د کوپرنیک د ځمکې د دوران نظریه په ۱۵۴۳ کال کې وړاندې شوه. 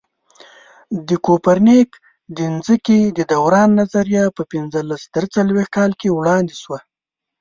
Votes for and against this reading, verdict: 0, 2, rejected